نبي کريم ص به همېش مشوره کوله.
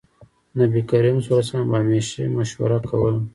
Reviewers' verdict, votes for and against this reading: accepted, 2, 1